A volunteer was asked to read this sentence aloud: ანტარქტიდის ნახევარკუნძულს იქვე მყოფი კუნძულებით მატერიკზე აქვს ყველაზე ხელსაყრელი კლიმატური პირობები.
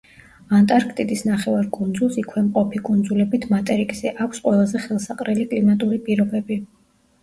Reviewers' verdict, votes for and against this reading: accepted, 2, 0